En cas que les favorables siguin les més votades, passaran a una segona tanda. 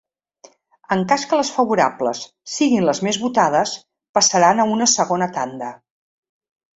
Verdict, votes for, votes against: accepted, 3, 0